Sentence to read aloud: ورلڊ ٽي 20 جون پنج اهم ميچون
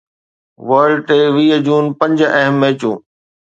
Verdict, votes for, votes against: rejected, 0, 2